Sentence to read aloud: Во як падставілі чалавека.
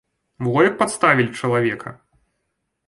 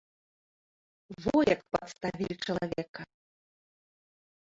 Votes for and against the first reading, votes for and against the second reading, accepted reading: 2, 0, 0, 2, first